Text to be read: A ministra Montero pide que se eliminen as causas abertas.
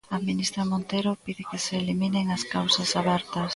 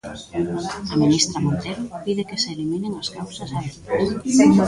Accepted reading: first